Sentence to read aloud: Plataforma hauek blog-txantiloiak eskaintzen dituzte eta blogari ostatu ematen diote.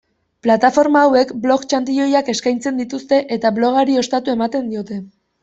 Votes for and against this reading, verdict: 2, 0, accepted